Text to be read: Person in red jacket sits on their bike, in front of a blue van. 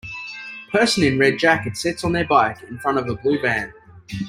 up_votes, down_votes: 2, 0